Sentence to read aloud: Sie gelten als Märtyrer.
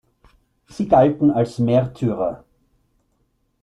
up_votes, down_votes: 1, 2